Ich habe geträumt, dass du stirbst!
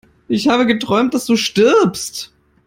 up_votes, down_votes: 2, 0